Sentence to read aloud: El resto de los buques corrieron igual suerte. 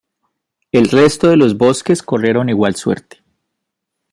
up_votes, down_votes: 0, 2